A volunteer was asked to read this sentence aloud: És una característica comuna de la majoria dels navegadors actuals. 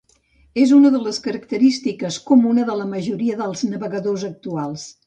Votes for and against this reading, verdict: 0, 2, rejected